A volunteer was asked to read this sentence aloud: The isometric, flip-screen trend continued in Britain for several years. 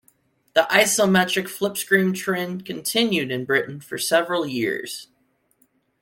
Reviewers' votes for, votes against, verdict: 2, 0, accepted